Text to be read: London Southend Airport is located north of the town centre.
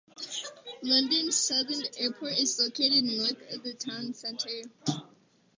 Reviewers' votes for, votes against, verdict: 2, 2, rejected